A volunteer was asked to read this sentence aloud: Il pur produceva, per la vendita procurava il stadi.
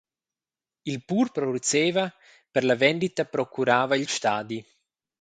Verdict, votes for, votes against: accepted, 2, 0